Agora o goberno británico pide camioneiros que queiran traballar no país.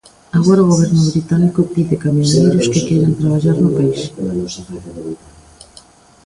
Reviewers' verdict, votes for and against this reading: rejected, 0, 2